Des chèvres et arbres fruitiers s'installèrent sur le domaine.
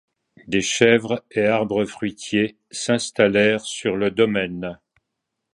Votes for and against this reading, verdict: 2, 0, accepted